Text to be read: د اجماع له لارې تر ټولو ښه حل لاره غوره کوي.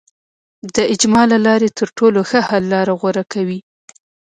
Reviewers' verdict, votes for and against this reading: accepted, 2, 0